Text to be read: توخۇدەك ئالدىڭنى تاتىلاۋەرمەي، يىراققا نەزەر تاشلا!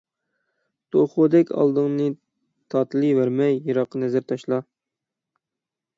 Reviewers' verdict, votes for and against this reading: rejected, 0, 6